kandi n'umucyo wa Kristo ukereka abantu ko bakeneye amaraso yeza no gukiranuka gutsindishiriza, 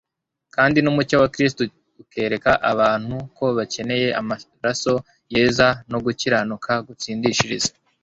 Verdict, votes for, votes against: rejected, 0, 2